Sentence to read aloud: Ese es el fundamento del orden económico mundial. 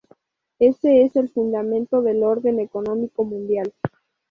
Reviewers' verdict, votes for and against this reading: accepted, 2, 0